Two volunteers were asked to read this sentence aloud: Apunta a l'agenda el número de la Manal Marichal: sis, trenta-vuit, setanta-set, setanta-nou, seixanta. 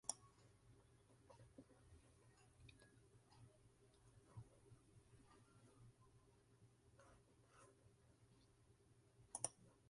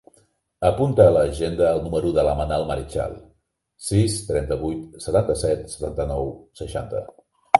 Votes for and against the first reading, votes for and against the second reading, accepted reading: 1, 3, 3, 0, second